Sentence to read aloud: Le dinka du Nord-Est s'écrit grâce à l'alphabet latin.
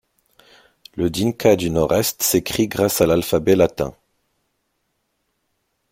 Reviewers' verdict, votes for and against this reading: accepted, 2, 0